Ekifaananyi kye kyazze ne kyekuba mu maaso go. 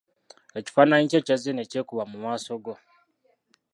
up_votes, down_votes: 0, 2